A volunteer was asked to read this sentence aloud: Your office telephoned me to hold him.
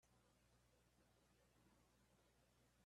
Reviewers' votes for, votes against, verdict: 0, 2, rejected